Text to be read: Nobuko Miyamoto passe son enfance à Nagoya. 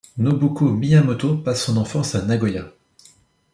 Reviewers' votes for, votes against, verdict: 2, 0, accepted